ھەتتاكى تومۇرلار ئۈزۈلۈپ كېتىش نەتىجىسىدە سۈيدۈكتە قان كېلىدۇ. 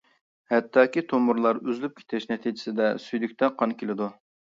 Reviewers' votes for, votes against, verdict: 2, 0, accepted